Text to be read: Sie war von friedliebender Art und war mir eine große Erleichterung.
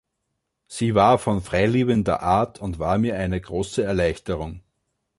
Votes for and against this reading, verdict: 0, 2, rejected